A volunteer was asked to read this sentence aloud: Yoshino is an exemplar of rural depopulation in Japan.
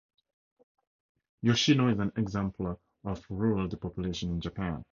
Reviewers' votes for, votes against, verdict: 0, 2, rejected